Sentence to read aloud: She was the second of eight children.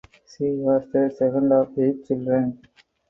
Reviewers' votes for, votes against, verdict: 0, 4, rejected